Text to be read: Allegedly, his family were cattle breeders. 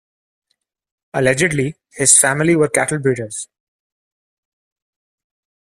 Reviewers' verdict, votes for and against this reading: accepted, 2, 0